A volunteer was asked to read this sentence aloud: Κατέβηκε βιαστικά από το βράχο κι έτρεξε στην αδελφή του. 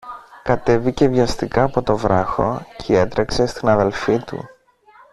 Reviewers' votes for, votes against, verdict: 1, 2, rejected